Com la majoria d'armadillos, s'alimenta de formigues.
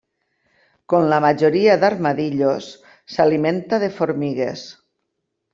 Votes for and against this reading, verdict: 2, 0, accepted